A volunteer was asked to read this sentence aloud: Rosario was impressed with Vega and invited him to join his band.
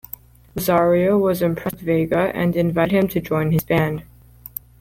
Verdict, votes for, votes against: rejected, 1, 2